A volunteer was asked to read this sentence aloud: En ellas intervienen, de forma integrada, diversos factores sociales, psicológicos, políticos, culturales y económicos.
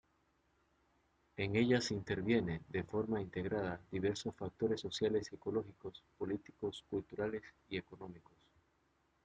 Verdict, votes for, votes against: rejected, 0, 2